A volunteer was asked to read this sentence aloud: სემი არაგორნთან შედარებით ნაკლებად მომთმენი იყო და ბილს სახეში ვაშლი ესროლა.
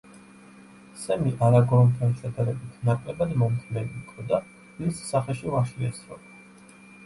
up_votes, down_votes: 1, 2